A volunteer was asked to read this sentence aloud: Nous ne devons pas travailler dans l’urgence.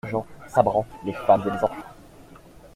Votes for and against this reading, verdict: 0, 2, rejected